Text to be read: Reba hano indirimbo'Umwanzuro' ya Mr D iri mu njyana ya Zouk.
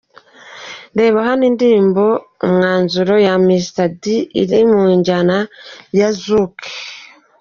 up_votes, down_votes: 2, 0